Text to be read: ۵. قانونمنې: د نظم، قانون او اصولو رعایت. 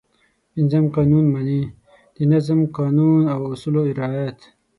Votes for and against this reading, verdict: 0, 2, rejected